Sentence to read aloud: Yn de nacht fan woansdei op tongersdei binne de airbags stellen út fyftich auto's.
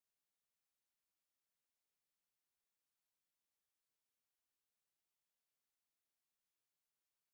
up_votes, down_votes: 0, 3